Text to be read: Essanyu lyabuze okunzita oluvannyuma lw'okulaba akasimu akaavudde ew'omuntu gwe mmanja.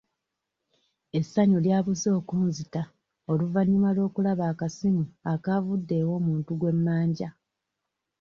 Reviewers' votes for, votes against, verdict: 2, 0, accepted